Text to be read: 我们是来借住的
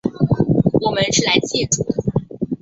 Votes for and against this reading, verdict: 1, 2, rejected